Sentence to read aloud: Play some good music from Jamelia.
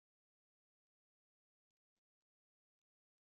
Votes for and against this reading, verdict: 0, 2, rejected